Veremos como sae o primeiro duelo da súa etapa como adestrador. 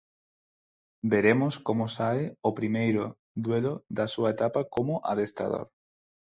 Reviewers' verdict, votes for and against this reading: accepted, 4, 0